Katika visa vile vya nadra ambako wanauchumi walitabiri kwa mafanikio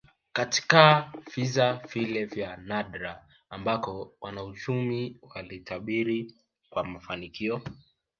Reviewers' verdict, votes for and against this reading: rejected, 0, 2